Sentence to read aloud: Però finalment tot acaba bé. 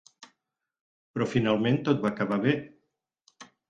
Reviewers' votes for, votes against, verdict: 2, 4, rejected